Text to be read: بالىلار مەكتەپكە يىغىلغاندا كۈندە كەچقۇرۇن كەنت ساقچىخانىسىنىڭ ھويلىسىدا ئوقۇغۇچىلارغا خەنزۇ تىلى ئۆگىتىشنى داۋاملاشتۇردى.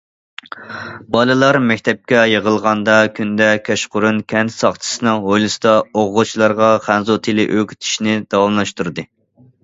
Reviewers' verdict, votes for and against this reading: rejected, 0, 2